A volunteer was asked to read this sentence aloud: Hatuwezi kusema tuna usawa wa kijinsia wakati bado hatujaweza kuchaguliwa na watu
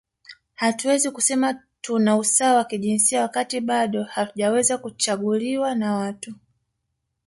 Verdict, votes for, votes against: accepted, 3, 0